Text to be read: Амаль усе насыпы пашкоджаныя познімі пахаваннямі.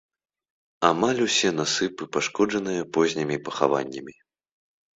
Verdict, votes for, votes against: rejected, 0, 2